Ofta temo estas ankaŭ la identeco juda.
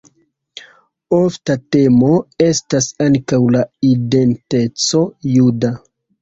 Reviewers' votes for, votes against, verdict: 2, 1, accepted